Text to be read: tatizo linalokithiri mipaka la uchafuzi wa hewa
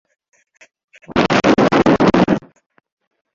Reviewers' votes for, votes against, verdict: 0, 2, rejected